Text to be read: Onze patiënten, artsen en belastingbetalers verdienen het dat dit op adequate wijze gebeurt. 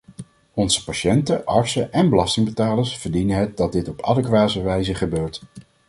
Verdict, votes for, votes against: rejected, 0, 2